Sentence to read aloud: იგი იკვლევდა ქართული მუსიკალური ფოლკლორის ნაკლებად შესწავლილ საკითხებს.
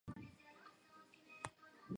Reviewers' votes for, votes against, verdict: 0, 2, rejected